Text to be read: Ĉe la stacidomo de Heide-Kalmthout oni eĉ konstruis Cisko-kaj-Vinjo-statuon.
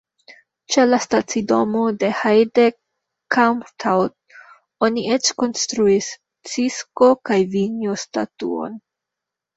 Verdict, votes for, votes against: accepted, 2, 1